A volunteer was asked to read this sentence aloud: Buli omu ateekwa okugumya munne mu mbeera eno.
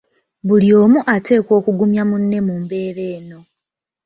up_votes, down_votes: 2, 0